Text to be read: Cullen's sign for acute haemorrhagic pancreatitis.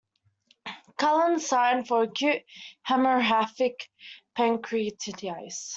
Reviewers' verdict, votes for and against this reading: rejected, 1, 2